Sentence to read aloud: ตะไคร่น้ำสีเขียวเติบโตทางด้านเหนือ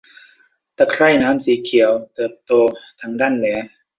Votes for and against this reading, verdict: 2, 1, accepted